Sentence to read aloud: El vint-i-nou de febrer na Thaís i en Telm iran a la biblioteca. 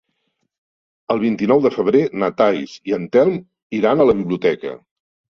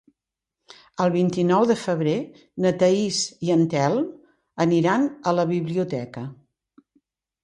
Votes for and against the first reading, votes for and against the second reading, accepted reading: 3, 1, 1, 2, first